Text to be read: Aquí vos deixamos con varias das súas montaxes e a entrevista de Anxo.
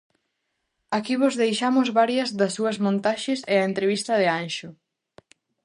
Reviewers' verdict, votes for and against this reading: rejected, 0, 2